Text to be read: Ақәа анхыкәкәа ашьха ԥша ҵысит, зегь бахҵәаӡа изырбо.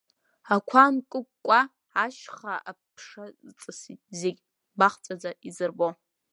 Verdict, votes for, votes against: rejected, 0, 2